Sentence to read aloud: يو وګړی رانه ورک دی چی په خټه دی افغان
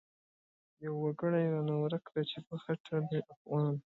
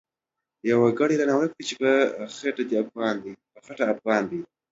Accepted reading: first